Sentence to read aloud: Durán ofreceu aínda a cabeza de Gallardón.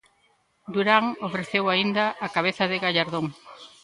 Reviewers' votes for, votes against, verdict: 2, 0, accepted